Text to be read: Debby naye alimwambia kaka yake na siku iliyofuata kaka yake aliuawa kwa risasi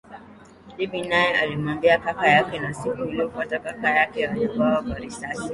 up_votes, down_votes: 5, 0